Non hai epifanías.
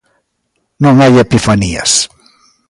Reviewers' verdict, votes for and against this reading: accepted, 2, 0